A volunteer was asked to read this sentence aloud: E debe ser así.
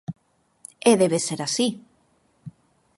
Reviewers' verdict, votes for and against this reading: accepted, 4, 0